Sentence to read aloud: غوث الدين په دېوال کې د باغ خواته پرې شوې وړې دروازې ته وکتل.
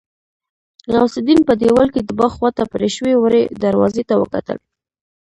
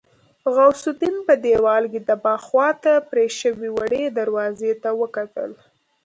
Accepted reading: second